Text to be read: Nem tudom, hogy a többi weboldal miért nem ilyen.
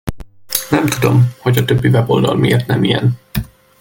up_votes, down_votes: 2, 0